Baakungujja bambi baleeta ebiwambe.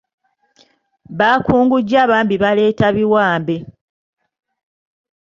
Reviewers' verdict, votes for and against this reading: rejected, 1, 2